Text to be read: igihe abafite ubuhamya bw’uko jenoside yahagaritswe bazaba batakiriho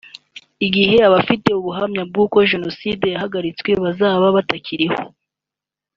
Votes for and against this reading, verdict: 2, 0, accepted